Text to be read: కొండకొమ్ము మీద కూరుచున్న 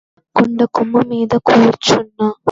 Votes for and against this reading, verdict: 2, 0, accepted